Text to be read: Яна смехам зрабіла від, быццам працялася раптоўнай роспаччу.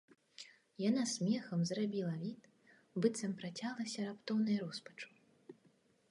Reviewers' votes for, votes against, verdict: 1, 2, rejected